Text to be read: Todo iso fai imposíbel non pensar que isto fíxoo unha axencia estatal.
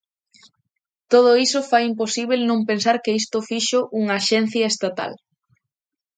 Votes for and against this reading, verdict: 2, 0, accepted